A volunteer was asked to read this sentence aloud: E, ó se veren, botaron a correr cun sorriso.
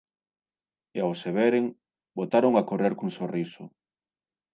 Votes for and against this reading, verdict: 0, 2, rejected